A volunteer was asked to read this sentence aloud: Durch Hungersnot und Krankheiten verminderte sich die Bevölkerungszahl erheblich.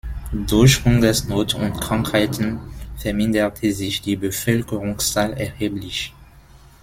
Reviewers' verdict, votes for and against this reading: accepted, 2, 0